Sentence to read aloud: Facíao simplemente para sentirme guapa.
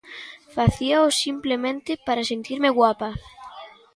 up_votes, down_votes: 2, 0